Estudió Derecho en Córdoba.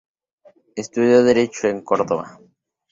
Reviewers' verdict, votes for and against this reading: accepted, 2, 0